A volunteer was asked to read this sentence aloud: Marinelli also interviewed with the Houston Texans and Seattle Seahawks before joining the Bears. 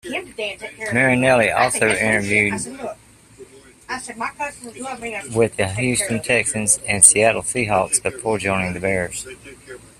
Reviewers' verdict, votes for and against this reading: rejected, 0, 2